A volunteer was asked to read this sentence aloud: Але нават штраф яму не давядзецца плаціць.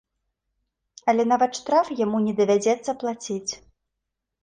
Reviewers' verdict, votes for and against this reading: accepted, 2, 0